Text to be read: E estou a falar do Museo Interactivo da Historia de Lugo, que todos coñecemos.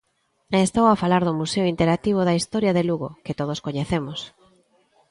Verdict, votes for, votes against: accepted, 2, 0